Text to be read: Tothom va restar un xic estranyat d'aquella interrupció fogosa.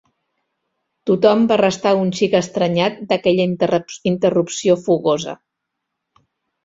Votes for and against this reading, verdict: 1, 2, rejected